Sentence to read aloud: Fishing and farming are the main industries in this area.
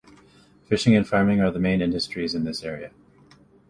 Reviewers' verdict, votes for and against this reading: accepted, 2, 0